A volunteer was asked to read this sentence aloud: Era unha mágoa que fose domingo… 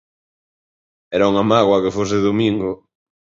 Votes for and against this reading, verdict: 2, 0, accepted